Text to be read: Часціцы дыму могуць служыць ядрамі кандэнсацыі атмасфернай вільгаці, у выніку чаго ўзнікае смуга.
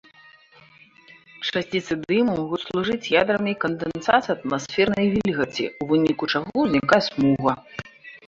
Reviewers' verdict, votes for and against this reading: rejected, 0, 2